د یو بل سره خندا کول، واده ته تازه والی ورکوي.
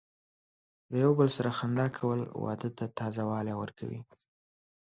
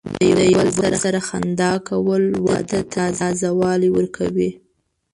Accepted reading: first